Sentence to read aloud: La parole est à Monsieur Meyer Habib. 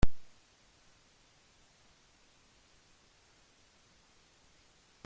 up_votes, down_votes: 0, 2